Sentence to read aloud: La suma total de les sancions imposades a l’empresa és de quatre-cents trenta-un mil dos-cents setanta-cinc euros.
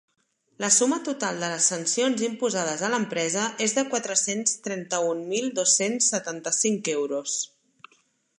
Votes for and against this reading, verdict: 2, 0, accepted